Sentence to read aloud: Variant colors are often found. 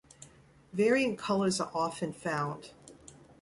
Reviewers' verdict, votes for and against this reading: accepted, 2, 0